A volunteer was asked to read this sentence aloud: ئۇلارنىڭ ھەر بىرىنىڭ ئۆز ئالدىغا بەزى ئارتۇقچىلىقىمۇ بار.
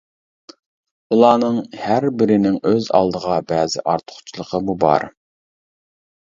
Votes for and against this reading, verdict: 0, 2, rejected